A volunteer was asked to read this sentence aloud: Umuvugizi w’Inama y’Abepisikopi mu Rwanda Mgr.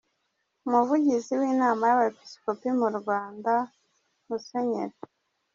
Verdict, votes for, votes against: rejected, 0, 2